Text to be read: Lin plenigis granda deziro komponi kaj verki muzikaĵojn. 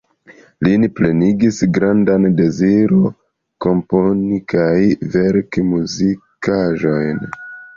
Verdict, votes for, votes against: rejected, 1, 2